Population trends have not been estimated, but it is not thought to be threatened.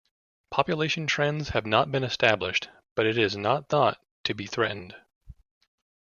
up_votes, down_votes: 0, 2